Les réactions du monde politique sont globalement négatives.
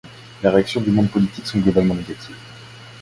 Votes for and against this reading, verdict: 0, 2, rejected